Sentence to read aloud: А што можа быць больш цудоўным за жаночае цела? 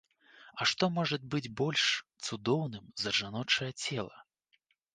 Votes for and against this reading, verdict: 2, 1, accepted